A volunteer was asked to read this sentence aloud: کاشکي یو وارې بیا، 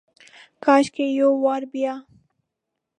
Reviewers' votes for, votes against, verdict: 0, 2, rejected